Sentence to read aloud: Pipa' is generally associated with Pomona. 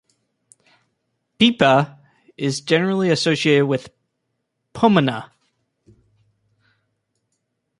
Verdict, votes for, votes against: rejected, 1, 2